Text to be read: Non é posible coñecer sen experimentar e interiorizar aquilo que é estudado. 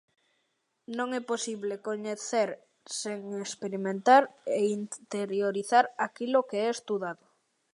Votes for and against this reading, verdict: 2, 0, accepted